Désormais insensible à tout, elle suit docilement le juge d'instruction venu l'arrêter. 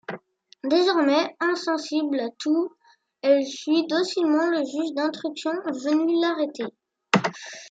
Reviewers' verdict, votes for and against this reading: rejected, 0, 2